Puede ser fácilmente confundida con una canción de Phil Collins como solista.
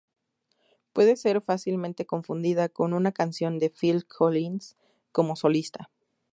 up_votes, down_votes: 2, 0